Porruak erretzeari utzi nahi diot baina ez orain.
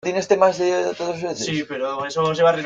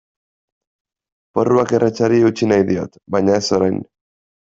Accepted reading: second